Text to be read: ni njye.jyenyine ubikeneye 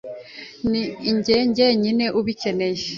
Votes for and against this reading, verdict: 2, 0, accepted